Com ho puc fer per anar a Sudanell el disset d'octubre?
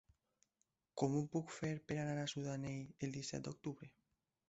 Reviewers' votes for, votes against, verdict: 0, 2, rejected